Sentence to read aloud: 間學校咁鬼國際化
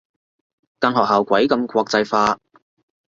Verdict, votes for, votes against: rejected, 0, 3